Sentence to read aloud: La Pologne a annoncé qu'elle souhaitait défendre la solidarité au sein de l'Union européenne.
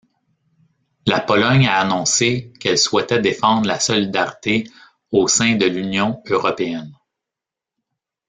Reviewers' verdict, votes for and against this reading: rejected, 1, 2